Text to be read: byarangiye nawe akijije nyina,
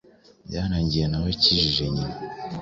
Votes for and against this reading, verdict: 3, 0, accepted